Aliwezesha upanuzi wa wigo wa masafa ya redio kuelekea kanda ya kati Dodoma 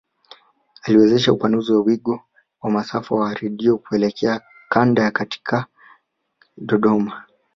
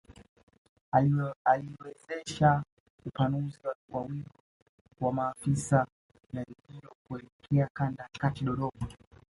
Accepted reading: first